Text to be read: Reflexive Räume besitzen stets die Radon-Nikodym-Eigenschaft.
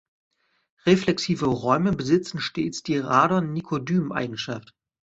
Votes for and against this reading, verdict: 2, 0, accepted